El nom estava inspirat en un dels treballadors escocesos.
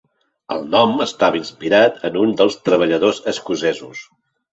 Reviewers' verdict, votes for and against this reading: accepted, 3, 1